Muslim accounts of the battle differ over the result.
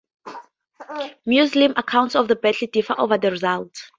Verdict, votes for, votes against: accepted, 2, 0